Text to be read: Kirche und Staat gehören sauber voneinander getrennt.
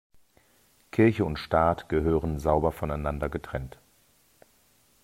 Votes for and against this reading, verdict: 2, 0, accepted